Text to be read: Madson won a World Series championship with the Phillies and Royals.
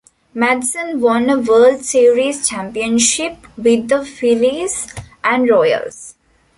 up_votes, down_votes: 1, 2